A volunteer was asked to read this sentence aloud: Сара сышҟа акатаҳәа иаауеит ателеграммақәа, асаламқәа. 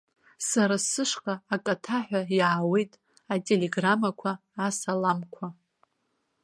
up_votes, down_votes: 2, 0